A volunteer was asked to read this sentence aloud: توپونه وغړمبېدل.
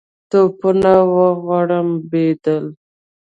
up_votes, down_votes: 2, 1